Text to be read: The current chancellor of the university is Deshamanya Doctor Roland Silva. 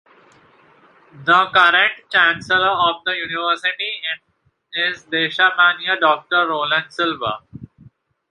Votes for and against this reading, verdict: 1, 2, rejected